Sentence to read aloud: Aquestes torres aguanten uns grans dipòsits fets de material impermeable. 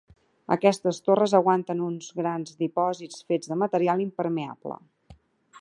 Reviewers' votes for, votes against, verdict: 2, 0, accepted